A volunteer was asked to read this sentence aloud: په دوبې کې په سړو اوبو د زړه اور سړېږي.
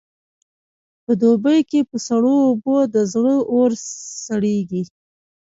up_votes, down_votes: 0, 2